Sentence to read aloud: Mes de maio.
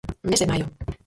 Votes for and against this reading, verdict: 0, 4, rejected